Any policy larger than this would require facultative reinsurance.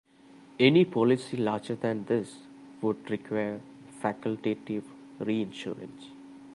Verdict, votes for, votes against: accepted, 2, 1